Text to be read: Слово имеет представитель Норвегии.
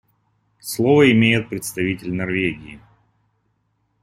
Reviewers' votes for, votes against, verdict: 2, 0, accepted